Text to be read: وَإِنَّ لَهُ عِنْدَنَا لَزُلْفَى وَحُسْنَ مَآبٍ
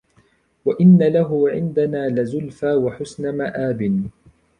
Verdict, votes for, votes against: rejected, 0, 2